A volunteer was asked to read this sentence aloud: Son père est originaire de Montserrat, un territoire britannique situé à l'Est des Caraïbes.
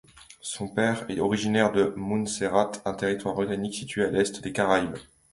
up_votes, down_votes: 1, 2